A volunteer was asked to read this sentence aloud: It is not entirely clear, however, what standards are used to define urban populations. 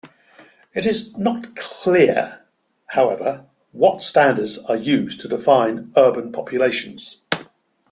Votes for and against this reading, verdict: 1, 2, rejected